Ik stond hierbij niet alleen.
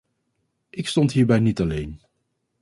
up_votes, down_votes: 2, 0